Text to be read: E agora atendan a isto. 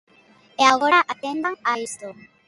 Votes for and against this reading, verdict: 0, 2, rejected